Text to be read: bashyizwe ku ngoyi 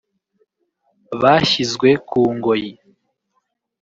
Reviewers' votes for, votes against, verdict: 1, 2, rejected